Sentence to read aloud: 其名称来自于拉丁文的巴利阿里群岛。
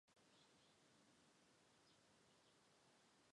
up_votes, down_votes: 0, 2